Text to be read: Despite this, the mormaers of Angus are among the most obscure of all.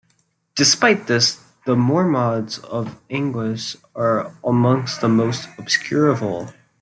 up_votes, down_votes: 1, 2